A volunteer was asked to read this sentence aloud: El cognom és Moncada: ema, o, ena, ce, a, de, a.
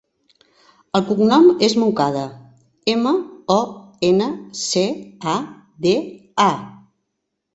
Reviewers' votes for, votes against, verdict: 2, 0, accepted